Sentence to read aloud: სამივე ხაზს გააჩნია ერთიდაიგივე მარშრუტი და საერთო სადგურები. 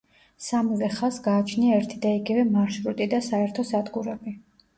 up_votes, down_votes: 2, 0